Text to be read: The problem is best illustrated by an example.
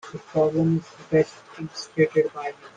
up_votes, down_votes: 0, 2